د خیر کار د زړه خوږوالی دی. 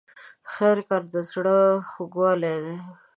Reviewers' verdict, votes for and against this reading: rejected, 0, 2